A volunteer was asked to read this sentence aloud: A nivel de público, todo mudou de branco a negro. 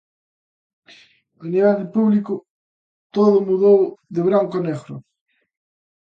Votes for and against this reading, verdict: 2, 0, accepted